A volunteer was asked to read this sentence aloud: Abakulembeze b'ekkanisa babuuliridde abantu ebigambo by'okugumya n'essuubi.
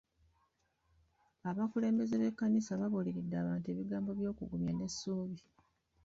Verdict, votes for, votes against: rejected, 0, 2